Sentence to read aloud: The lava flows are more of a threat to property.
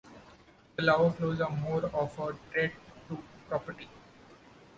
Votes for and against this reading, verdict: 2, 0, accepted